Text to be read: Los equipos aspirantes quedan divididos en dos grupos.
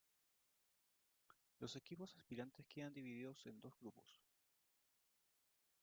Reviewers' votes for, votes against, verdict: 1, 2, rejected